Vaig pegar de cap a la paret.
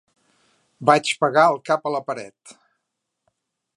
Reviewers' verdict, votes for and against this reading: rejected, 1, 2